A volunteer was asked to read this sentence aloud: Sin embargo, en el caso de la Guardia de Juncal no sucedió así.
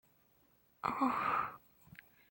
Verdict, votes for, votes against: rejected, 0, 2